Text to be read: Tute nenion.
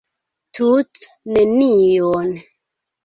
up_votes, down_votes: 0, 2